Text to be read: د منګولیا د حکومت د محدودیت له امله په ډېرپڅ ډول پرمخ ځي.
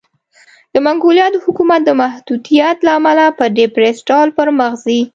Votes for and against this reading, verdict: 2, 0, accepted